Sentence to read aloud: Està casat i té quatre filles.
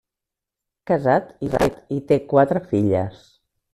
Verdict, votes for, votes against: rejected, 0, 2